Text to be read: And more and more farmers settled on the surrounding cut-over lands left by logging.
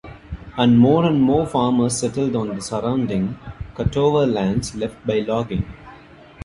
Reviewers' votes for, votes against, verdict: 2, 1, accepted